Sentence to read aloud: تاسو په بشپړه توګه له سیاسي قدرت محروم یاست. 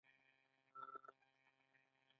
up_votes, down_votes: 0, 2